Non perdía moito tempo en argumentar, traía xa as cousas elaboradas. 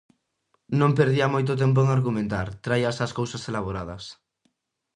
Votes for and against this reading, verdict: 2, 0, accepted